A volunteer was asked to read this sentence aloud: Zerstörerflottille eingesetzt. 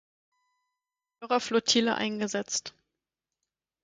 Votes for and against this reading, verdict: 0, 4, rejected